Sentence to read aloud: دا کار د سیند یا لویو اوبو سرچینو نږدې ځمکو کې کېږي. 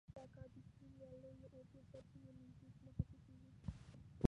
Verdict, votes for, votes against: rejected, 1, 2